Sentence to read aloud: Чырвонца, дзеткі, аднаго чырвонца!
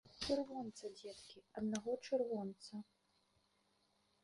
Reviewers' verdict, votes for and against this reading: rejected, 1, 2